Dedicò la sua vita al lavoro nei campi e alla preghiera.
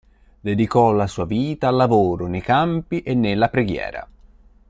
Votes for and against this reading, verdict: 0, 4, rejected